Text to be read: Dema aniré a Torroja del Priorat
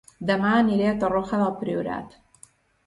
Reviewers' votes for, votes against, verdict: 1, 2, rejected